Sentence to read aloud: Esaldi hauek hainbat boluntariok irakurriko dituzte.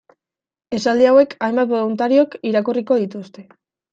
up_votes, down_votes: 2, 0